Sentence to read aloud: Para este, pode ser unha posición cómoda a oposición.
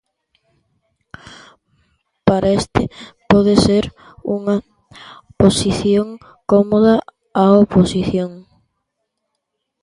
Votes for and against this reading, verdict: 1, 2, rejected